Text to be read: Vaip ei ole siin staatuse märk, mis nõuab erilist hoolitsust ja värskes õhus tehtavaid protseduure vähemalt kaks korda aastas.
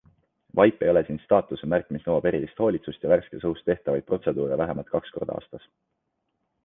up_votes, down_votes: 2, 0